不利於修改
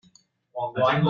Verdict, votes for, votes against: rejected, 0, 2